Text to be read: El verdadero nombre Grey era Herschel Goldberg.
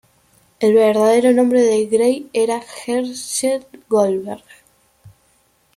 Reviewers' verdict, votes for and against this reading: rejected, 1, 2